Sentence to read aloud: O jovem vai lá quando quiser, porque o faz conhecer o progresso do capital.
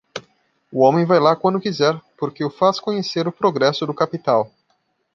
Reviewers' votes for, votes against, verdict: 0, 2, rejected